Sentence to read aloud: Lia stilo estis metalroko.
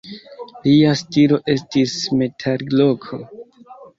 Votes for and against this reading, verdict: 0, 2, rejected